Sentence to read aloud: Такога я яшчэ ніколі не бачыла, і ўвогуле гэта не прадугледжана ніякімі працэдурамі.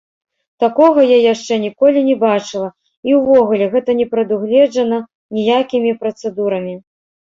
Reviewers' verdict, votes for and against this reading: rejected, 1, 2